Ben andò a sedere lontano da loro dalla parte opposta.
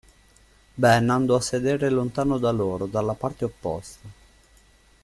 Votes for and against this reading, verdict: 2, 0, accepted